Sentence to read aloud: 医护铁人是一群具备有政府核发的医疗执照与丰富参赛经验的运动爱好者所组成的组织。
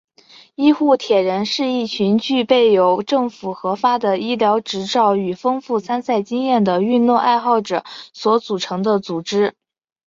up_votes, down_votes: 2, 0